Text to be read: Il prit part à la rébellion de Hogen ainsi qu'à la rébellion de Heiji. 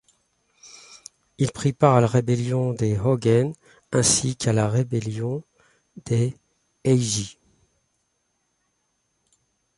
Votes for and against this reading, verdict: 0, 2, rejected